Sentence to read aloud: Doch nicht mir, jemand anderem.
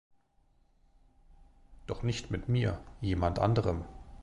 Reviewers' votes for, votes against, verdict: 0, 2, rejected